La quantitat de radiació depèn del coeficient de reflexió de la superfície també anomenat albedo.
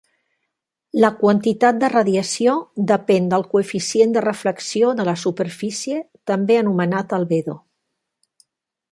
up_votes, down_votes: 4, 0